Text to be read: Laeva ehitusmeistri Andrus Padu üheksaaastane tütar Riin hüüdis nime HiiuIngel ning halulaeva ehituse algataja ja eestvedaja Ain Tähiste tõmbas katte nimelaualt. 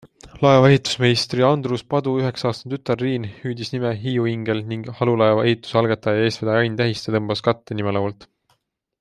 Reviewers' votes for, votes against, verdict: 2, 0, accepted